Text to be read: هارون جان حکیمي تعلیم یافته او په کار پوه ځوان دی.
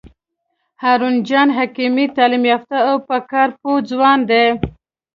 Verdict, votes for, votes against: accepted, 2, 0